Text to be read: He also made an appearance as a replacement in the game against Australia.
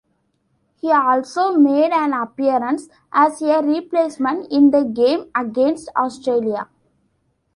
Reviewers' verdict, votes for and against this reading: accepted, 2, 0